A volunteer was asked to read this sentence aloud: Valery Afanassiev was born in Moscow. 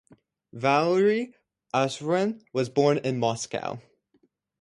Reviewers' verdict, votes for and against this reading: rejected, 0, 2